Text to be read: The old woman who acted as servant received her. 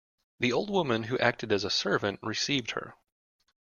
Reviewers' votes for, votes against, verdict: 0, 2, rejected